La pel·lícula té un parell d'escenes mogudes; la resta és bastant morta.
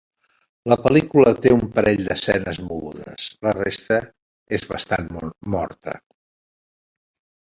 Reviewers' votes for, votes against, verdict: 1, 2, rejected